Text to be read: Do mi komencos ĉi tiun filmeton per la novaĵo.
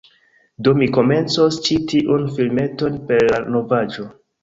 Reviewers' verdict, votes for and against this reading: rejected, 1, 2